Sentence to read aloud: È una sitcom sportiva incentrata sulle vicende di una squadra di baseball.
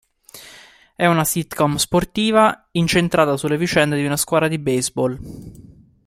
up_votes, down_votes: 2, 0